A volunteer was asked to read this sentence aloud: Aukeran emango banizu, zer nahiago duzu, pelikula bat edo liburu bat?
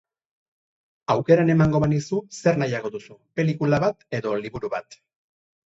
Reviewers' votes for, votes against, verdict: 0, 2, rejected